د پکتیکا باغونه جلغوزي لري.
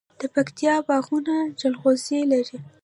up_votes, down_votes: 2, 0